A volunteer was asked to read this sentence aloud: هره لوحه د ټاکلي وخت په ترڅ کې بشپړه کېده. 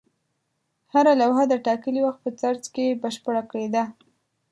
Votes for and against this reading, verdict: 1, 2, rejected